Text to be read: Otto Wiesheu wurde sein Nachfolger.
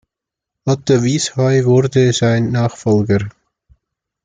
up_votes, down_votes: 2, 0